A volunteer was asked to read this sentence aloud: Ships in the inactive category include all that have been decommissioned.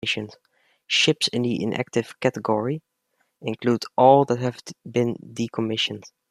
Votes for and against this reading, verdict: 1, 2, rejected